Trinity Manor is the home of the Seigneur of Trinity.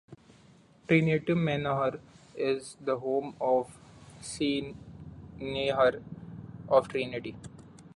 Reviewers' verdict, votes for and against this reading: rejected, 1, 2